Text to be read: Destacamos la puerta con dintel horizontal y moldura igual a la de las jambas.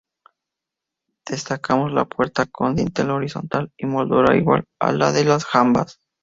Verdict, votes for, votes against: accepted, 2, 0